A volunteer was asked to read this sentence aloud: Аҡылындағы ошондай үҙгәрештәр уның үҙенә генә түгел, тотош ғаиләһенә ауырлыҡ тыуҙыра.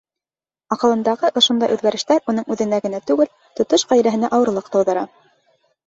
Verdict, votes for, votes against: accepted, 2, 0